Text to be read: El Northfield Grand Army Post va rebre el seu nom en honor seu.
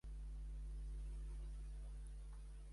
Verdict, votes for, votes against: rejected, 0, 3